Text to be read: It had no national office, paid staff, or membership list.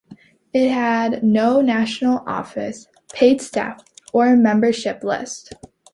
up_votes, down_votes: 2, 0